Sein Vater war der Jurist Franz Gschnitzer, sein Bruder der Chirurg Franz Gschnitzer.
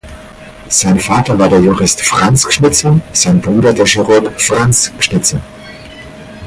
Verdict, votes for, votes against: accepted, 4, 0